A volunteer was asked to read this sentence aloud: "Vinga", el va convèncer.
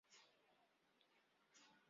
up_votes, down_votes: 0, 2